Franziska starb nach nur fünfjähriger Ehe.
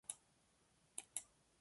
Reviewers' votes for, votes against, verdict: 0, 2, rejected